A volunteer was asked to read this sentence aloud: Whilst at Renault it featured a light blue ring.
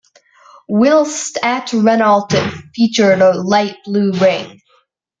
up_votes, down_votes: 1, 2